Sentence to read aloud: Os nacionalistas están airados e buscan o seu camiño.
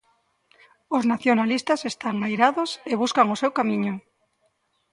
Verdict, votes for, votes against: rejected, 1, 2